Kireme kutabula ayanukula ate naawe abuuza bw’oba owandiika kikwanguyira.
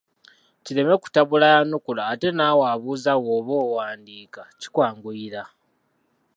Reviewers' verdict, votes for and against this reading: accepted, 2, 0